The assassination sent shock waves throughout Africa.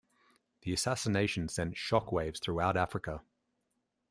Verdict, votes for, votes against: accepted, 2, 0